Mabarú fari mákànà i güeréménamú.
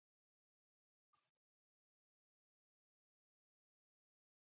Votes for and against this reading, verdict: 1, 2, rejected